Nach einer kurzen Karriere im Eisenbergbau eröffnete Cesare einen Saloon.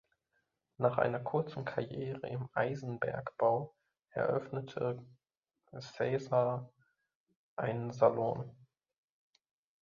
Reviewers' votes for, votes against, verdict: 0, 2, rejected